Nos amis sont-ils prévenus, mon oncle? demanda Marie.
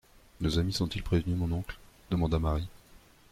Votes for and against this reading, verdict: 2, 1, accepted